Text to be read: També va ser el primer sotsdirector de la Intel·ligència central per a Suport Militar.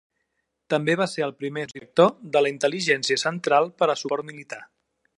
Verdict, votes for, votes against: rejected, 0, 2